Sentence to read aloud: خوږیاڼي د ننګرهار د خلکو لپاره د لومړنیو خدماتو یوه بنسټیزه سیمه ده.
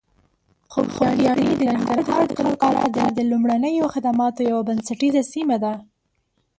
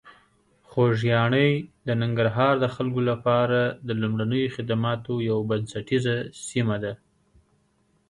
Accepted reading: second